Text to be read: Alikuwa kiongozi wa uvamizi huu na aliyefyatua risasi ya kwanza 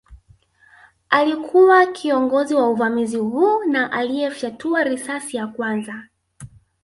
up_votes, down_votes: 5, 0